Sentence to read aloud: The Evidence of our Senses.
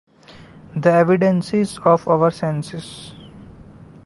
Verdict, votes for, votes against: rejected, 0, 2